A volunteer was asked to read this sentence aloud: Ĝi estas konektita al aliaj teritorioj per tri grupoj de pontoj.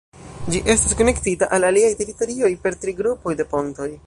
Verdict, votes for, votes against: rejected, 1, 2